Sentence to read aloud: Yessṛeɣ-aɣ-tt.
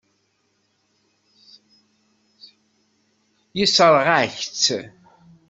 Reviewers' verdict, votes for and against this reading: rejected, 1, 2